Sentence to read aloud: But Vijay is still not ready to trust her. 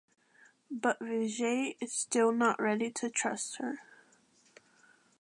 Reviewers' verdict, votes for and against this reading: accepted, 2, 0